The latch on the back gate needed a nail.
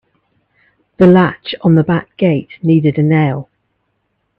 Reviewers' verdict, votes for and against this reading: accepted, 2, 0